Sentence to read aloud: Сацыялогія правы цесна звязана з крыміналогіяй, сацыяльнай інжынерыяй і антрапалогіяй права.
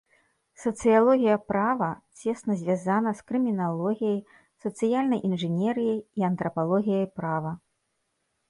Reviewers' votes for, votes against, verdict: 2, 0, accepted